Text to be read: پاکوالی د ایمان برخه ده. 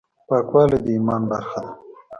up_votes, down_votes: 2, 0